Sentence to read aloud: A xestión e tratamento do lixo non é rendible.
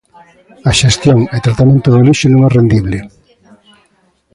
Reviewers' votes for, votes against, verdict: 2, 1, accepted